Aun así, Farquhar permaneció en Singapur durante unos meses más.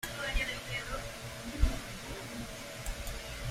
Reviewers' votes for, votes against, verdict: 0, 2, rejected